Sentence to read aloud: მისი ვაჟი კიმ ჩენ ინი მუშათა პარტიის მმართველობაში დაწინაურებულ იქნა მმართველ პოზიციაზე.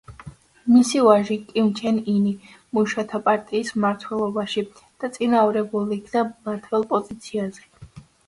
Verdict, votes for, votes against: accepted, 3, 0